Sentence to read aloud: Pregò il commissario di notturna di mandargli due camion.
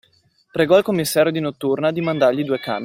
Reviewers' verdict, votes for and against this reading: accepted, 2, 0